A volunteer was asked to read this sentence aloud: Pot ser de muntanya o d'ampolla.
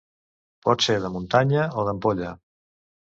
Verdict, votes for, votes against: accepted, 2, 0